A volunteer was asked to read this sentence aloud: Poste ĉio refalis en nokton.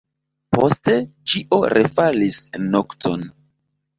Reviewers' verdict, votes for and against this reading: accepted, 2, 0